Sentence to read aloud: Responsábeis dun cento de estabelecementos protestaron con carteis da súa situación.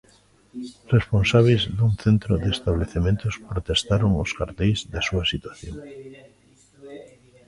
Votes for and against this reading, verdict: 0, 2, rejected